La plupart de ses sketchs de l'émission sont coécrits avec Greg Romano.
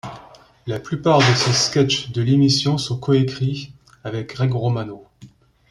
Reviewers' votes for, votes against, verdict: 2, 1, accepted